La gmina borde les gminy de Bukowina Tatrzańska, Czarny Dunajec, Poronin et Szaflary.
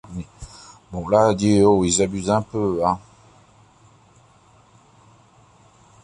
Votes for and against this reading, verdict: 0, 2, rejected